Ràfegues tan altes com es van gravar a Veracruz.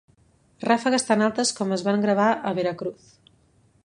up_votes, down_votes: 2, 0